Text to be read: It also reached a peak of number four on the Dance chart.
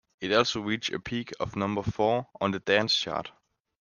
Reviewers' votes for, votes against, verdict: 2, 0, accepted